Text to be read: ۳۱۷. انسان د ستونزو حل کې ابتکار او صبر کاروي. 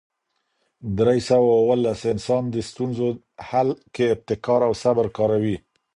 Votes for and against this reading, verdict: 0, 2, rejected